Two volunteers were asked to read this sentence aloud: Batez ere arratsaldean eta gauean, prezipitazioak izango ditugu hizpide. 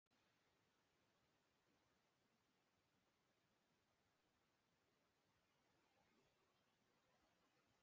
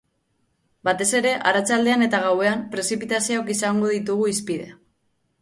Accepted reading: second